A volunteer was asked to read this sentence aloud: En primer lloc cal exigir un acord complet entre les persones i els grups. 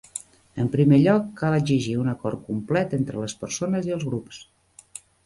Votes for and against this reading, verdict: 3, 1, accepted